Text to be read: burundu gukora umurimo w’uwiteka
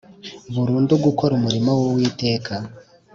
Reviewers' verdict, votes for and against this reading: accepted, 3, 0